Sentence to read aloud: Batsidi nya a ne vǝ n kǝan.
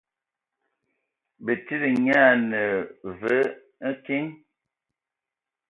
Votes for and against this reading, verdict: 1, 4, rejected